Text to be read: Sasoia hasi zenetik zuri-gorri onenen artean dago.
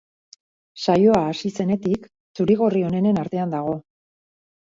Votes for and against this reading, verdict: 2, 2, rejected